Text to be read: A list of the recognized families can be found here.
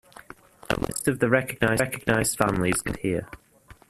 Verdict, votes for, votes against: rejected, 0, 2